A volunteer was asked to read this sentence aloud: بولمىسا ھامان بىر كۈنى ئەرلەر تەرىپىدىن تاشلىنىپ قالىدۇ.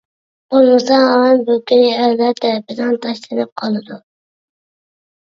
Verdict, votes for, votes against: rejected, 0, 2